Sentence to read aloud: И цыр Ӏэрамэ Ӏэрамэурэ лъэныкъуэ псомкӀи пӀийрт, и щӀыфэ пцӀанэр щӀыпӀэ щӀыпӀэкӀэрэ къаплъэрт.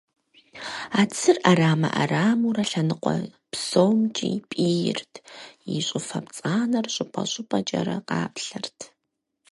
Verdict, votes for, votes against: accepted, 4, 2